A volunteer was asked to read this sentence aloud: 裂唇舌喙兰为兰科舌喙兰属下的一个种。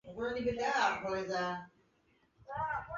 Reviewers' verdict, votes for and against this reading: rejected, 0, 2